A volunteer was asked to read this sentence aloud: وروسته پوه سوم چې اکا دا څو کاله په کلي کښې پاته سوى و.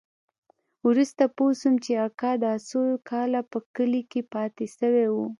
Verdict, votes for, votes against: accepted, 2, 0